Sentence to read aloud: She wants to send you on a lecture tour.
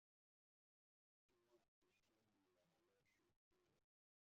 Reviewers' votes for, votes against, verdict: 0, 2, rejected